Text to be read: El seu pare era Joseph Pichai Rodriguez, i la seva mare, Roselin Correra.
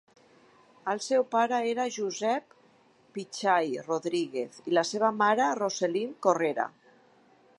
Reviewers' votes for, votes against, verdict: 2, 1, accepted